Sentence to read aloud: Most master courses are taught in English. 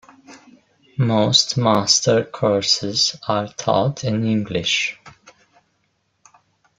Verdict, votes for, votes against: accepted, 2, 0